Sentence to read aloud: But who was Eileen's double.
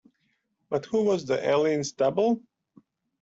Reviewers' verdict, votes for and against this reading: rejected, 1, 2